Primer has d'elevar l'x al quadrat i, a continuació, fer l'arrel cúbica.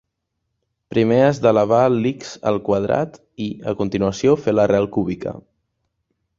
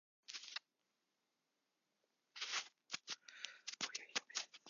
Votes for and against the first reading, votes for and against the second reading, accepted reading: 2, 0, 0, 4, first